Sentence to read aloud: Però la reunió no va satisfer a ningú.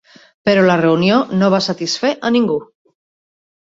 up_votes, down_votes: 4, 0